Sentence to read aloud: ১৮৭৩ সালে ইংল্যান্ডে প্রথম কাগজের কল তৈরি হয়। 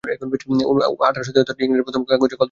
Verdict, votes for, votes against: rejected, 0, 2